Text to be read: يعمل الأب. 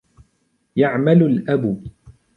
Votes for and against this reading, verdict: 2, 0, accepted